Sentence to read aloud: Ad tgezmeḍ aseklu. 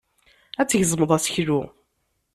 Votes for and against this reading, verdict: 2, 0, accepted